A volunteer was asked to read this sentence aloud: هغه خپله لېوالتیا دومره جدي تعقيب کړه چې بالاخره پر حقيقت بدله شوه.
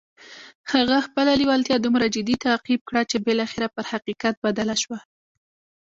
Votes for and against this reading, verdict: 1, 2, rejected